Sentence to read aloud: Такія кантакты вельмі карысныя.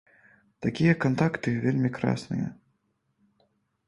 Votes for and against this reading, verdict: 1, 2, rejected